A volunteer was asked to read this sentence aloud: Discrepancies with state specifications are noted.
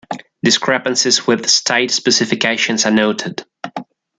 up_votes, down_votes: 1, 2